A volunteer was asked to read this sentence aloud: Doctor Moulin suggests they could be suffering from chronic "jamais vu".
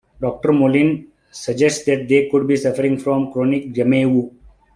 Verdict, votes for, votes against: rejected, 1, 2